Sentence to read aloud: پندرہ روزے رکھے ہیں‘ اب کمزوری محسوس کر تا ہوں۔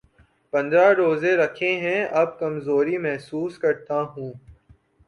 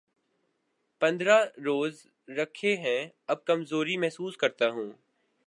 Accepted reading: first